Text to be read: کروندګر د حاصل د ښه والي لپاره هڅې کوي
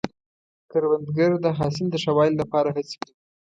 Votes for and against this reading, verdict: 0, 2, rejected